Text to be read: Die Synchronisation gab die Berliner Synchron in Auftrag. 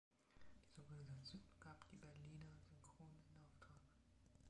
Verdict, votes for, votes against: rejected, 0, 2